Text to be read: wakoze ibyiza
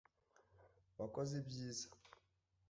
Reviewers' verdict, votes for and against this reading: accepted, 2, 0